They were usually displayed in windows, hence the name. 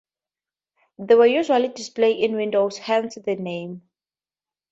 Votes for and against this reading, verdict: 4, 0, accepted